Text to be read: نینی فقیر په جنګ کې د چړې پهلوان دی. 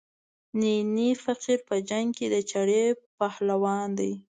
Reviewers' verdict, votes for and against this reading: rejected, 1, 2